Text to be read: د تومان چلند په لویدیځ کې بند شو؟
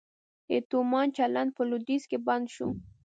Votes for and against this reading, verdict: 1, 2, rejected